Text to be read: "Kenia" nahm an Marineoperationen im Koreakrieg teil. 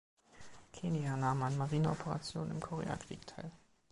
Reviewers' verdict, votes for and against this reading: accepted, 2, 1